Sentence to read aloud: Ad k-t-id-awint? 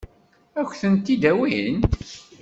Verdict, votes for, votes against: rejected, 1, 2